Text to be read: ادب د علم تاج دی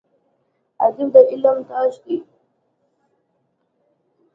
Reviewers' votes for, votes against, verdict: 2, 1, accepted